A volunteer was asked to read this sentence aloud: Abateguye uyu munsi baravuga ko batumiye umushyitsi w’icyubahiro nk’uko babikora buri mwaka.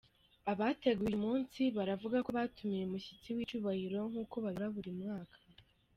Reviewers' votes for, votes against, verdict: 0, 2, rejected